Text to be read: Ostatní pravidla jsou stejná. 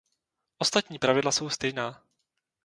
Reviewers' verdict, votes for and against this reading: accepted, 2, 0